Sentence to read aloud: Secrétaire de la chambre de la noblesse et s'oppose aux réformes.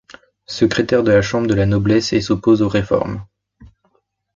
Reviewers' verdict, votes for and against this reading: accepted, 2, 0